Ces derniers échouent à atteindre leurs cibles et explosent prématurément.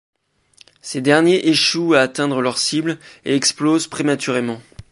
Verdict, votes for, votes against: accepted, 2, 0